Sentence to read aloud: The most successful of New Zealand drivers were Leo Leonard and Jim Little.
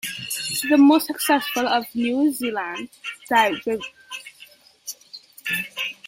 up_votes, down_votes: 1, 2